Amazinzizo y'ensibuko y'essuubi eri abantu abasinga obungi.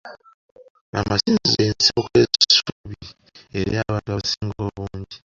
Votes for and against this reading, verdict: 0, 2, rejected